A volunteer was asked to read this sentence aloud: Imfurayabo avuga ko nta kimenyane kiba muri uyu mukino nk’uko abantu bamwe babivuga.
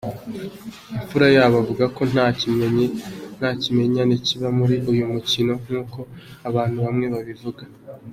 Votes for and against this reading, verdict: 1, 2, rejected